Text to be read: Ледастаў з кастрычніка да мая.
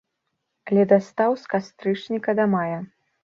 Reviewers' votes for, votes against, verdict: 2, 0, accepted